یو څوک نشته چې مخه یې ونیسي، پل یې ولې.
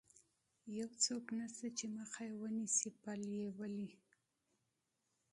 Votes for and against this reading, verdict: 2, 0, accepted